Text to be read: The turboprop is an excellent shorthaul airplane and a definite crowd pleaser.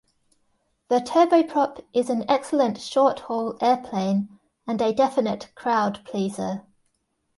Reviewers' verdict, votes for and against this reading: accepted, 2, 1